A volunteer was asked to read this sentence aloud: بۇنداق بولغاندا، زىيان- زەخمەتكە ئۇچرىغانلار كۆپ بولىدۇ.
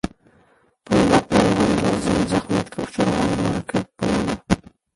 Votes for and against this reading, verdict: 0, 2, rejected